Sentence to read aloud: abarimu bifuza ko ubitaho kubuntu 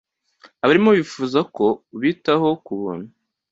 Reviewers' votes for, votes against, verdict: 2, 1, accepted